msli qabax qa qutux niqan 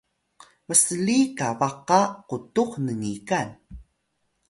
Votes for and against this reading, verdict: 0, 2, rejected